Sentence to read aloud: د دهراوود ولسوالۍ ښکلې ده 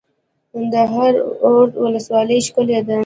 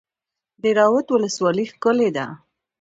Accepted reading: second